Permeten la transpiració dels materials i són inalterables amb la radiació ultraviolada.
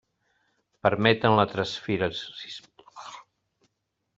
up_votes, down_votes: 0, 2